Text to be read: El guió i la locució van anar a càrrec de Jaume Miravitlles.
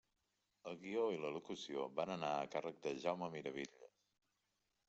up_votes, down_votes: 0, 2